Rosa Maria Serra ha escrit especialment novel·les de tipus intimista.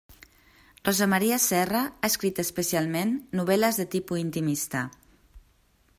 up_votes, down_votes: 1, 2